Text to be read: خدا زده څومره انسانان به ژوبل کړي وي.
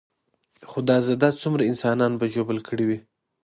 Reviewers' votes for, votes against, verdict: 1, 2, rejected